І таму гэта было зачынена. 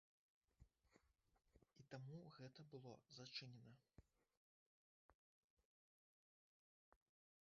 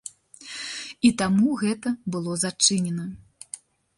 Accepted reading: second